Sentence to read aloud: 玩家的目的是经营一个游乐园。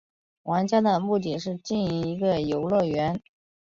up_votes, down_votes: 4, 0